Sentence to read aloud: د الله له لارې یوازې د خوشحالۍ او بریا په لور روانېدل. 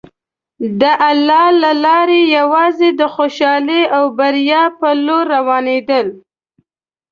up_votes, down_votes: 2, 0